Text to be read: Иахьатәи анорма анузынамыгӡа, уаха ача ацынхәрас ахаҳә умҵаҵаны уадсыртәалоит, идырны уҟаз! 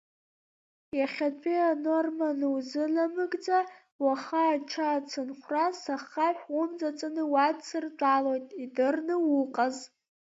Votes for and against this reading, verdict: 1, 2, rejected